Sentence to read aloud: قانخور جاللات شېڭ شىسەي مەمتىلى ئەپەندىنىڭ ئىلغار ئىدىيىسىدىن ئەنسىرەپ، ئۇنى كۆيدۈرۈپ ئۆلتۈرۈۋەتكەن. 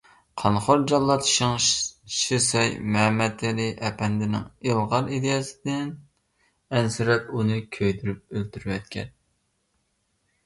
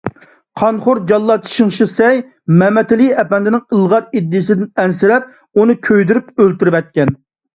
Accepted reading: second